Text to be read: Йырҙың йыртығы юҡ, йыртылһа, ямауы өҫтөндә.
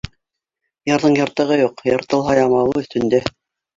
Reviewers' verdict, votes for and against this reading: rejected, 0, 2